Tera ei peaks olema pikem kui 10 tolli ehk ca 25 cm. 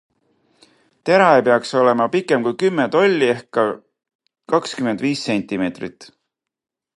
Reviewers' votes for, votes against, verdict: 0, 2, rejected